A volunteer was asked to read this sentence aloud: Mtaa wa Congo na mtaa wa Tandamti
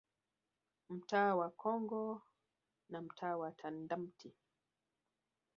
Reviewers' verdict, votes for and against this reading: accepted, 3, 1